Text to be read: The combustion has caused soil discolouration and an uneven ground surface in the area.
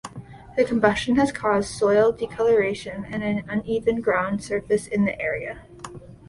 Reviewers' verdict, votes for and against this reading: rejected, 0, 2